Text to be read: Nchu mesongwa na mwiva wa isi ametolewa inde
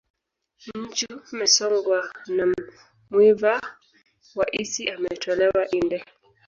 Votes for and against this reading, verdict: 0, 2, rejected